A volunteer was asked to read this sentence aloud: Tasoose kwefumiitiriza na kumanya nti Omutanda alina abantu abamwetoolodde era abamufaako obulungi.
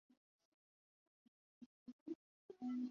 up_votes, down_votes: 1, 2